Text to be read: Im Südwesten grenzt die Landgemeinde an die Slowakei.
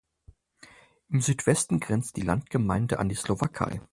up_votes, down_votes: 4, 0